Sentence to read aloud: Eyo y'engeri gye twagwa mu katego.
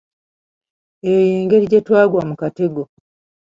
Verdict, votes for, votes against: accepted, 2, 0